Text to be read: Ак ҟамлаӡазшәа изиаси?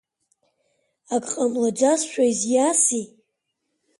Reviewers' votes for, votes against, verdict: 6, 7, rejected